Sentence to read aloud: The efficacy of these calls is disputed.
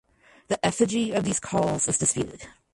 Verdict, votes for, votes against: rejected, 0, 2